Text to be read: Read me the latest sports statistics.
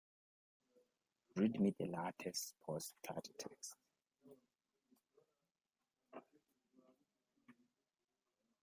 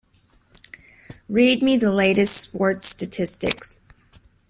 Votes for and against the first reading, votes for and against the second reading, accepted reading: 0, 2, 2, 0, second